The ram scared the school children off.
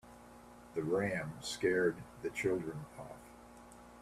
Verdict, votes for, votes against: rejected, 1, 2